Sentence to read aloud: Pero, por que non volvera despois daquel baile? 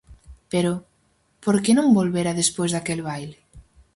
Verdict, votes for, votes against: accepted, 4, 0